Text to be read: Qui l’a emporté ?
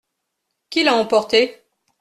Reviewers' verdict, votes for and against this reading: accepted, 2, 0